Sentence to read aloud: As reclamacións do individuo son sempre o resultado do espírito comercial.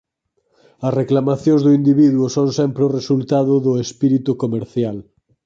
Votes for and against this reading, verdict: 4, 0, accepted